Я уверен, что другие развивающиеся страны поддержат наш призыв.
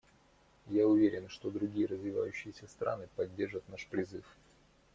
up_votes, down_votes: 2, 0